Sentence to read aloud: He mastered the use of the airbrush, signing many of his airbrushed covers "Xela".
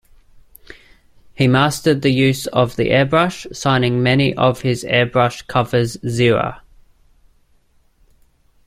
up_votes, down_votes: 2, 0